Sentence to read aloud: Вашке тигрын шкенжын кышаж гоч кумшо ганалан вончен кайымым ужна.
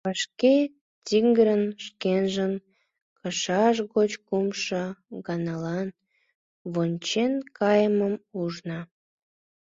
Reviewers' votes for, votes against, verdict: 0, 2, rejected